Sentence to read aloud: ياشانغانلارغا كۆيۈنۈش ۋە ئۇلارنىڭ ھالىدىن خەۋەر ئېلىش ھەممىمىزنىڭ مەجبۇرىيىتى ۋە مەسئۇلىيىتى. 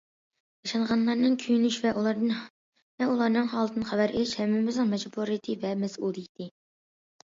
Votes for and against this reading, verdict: 0, 2, rejected